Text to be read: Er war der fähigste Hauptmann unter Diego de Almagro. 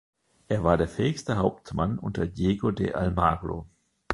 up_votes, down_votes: 2, 0